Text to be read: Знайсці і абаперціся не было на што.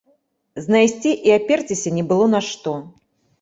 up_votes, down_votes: 1, 2